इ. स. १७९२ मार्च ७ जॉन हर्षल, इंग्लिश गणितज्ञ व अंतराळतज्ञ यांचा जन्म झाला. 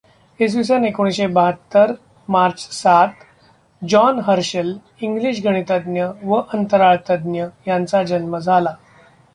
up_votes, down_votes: 0, 2